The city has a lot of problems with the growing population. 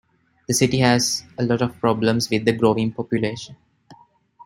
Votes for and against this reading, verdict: 2, 0, accepted